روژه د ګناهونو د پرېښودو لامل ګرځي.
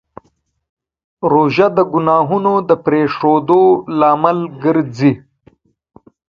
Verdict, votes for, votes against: accepted, 2, 0